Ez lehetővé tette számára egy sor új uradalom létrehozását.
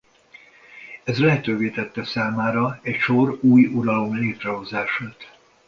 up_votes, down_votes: 1, 2